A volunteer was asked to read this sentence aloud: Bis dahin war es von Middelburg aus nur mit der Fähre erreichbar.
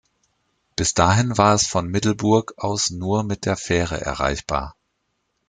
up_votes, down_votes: 2, 0